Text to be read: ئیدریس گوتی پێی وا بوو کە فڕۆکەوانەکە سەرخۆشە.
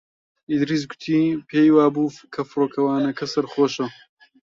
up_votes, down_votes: 1, 2